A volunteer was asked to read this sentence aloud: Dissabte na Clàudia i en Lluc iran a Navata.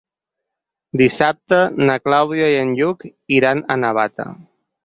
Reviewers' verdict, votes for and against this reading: accepted, 4, 0